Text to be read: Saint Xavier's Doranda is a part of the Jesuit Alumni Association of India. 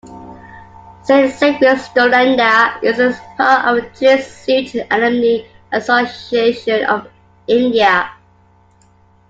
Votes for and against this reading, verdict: 2, 1, accepted